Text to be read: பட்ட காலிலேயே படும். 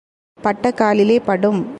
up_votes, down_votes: 2, 0